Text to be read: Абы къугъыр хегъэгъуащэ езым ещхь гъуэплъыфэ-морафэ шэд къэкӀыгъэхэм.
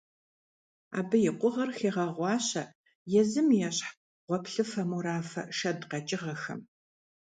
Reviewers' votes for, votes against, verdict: 0, 2, rejected